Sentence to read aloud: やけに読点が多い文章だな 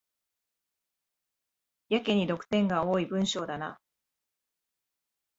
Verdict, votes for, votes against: accepted, 2, 1